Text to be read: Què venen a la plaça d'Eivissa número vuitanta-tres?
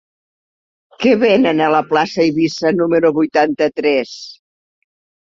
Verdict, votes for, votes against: rejected, 1, 2